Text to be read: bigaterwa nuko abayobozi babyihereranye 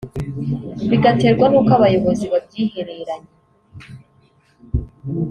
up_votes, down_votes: 1, 2